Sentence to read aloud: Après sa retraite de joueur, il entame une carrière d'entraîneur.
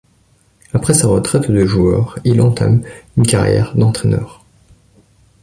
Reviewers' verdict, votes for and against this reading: accepted, 2, 0